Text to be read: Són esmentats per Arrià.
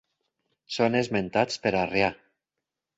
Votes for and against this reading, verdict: 6, 2, accepted